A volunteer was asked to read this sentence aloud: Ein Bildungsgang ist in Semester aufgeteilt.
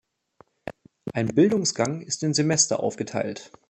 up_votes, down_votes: 2, 0